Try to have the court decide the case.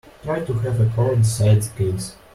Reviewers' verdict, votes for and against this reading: rejected, 1, 2